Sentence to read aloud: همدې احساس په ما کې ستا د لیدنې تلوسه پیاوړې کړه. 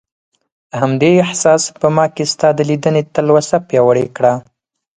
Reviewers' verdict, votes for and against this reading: accepted, 4, 0